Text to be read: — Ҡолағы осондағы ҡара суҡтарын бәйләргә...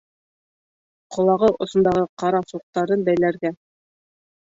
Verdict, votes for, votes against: accepted, 2, 0